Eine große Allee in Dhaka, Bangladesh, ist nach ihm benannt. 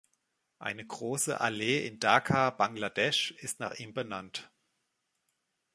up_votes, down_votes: 2, 0